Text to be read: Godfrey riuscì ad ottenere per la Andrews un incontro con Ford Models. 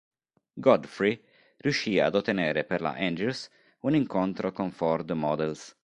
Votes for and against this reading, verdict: 2, 0, accepted